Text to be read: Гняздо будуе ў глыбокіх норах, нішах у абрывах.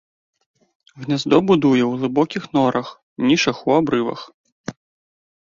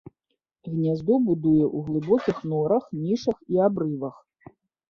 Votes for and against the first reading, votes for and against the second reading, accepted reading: 3, 0, 1, 2, first